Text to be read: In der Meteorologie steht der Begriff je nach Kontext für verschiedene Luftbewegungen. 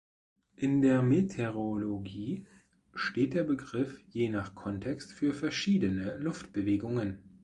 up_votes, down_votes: 1, 2